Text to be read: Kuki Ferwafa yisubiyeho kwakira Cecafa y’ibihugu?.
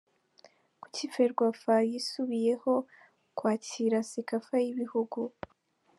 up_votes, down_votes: 3, 0